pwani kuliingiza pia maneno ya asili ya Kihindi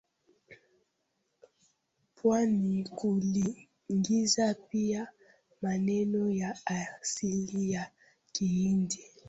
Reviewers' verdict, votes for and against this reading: rejected, 0, 2